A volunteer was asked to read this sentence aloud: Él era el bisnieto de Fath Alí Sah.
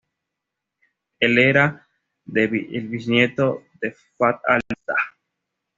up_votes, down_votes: 1, 2